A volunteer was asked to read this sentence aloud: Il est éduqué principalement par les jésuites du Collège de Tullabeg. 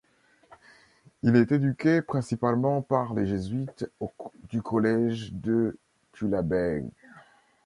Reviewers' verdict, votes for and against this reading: rejected, 0, 2